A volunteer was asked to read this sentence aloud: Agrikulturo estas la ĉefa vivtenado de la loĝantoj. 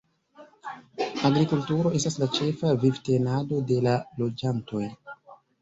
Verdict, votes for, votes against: accepted, 2, 0